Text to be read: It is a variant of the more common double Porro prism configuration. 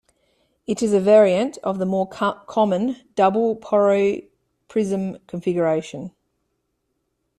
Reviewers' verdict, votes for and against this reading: rejected, 1, 2